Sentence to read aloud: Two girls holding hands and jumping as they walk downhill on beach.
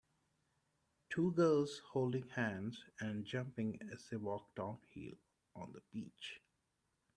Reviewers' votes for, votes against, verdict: 0, 2, rejected